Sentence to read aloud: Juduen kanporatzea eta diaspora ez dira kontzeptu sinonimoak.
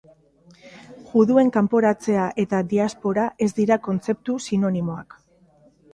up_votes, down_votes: 2, 0